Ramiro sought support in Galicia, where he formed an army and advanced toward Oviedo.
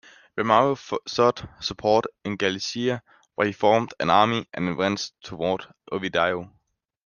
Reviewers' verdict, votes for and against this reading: rejected, 0, 2